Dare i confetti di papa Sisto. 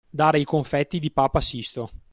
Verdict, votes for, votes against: accepted, 2, 0